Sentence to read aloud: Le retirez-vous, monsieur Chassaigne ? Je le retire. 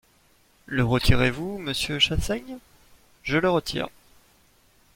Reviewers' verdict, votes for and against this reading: accepted, 2, 0